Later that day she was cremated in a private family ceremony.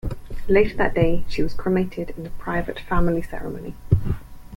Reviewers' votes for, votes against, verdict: 1, 2, rejected